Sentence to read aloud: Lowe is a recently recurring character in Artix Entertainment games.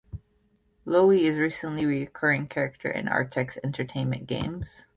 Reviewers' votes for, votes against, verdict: 0, 2, rejected